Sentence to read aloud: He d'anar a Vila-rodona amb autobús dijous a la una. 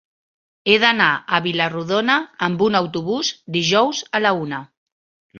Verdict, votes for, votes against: rejected, 0, 2